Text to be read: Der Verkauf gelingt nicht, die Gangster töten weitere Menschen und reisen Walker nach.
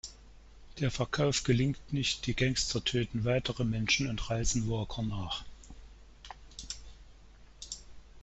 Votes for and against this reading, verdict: 2, 0, accepted